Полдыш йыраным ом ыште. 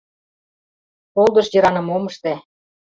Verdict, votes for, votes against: rejected, 0, 2